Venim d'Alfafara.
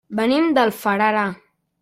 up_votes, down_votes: 0, 2